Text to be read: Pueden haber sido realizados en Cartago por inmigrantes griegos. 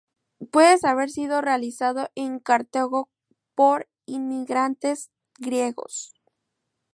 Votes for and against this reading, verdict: 0, 4, rejected